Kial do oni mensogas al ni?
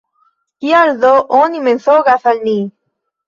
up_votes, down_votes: 3, 1